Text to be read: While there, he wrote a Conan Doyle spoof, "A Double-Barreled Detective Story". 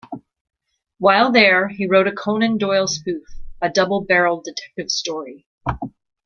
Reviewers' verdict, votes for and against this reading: accepted, 2, 0